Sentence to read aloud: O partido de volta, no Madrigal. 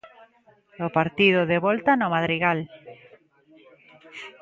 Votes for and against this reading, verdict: 2, 0, accepted